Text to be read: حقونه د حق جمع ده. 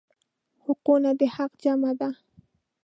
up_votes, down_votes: 2, 0